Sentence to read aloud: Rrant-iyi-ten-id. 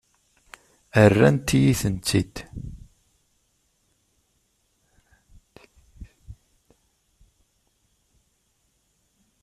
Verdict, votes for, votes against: rejected, 1, 2